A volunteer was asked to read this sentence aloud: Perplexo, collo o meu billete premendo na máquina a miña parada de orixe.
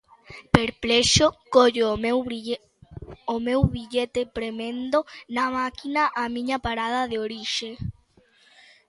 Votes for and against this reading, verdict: 1, 2, rejected